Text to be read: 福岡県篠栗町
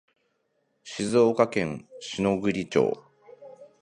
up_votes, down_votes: 0, 2